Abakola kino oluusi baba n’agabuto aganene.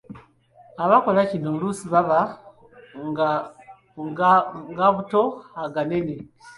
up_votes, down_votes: 2, 1